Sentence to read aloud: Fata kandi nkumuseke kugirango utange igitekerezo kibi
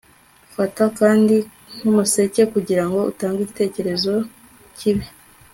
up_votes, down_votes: 3, 0